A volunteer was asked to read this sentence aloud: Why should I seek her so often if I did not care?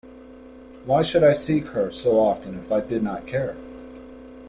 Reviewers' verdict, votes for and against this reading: accepted, 2, 0